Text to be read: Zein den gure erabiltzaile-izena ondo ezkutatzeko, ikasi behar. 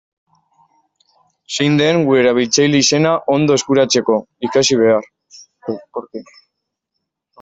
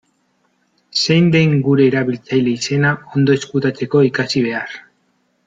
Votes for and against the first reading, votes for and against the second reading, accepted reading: 0, 2, 2, 0, second